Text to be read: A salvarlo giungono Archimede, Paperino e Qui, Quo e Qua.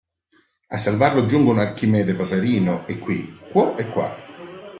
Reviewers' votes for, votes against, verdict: 2, 1, accepted